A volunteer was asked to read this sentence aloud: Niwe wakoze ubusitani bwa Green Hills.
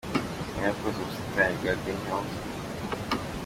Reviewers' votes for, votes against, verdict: 2, 1, accepted